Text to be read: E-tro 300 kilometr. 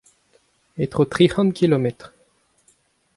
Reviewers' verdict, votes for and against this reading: rejected, 0, 2